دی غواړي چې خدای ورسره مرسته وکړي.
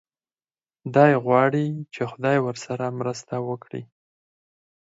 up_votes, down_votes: 4, 2